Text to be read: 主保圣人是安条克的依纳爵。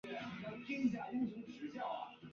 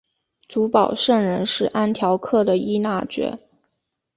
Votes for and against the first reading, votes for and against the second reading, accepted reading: 0, 2, 2, 0, second